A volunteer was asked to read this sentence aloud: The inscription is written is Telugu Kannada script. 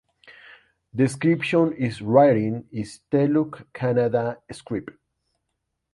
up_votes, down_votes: 0, 2